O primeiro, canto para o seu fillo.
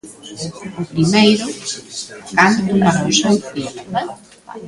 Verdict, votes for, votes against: rejected, 1, 2